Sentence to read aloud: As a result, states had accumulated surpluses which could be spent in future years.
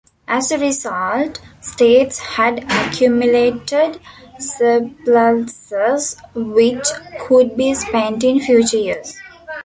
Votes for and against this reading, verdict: 0, 2, rejected